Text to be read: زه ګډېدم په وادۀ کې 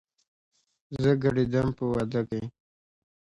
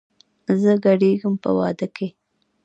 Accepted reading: first